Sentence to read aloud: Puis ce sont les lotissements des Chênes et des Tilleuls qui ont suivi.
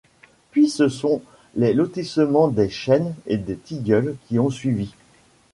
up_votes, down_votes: 2, 0